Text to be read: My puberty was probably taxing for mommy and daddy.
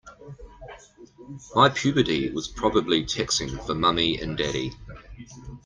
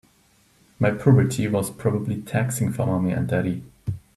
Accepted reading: second